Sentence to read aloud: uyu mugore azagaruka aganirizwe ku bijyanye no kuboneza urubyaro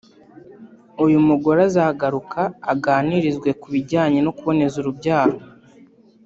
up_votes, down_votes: 2, 0